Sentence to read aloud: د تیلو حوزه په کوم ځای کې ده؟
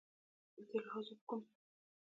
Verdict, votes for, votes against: rejected, 1, 2